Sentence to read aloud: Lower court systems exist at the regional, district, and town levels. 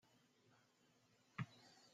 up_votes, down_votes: 0, 2